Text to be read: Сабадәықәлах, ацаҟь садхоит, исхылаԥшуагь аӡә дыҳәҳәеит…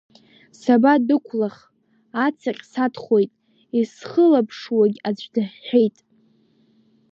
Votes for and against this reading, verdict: 2, 0, accepted